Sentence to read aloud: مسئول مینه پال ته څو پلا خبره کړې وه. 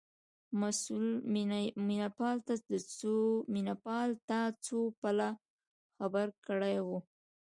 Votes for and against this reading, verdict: 2, 0, accepted